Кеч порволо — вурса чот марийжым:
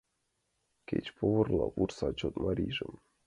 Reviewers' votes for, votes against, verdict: 1, 2, rejected